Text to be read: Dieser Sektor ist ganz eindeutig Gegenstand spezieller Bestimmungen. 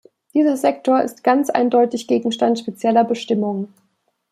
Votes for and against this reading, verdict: 2, 0, accepted